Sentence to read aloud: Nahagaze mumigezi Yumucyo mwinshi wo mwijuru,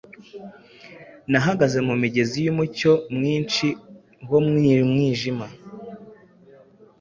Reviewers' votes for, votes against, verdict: 2, 0, accepted